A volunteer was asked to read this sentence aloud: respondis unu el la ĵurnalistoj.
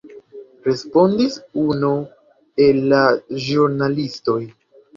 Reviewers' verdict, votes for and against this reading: rejected, 1, 2